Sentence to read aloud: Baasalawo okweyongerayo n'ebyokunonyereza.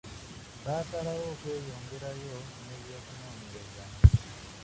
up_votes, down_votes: 0, 2